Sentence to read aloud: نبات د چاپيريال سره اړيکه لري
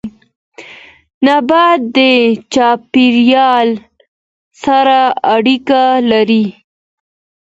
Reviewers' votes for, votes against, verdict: 2, 1, accepted